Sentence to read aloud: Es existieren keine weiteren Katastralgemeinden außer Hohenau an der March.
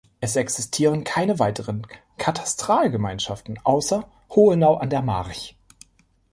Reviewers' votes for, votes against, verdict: 1, 2, rejected